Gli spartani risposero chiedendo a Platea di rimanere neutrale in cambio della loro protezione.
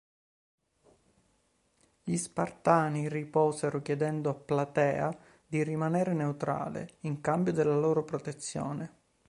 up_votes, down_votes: 1, 4